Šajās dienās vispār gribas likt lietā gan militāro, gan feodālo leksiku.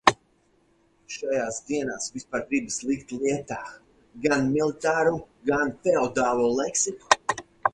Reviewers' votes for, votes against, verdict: 2, 4, rejected